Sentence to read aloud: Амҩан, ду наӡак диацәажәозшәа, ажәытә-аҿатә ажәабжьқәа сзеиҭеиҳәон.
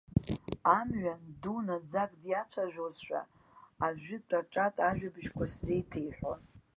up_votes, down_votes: 0, 2